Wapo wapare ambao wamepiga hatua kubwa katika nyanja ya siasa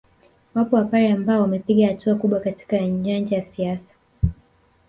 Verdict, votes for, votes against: rejected, 1, 2